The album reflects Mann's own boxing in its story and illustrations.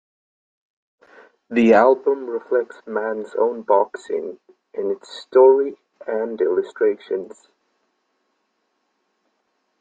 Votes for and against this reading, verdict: 2, 1, accepted